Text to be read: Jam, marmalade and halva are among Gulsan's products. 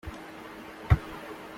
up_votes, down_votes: 0, 2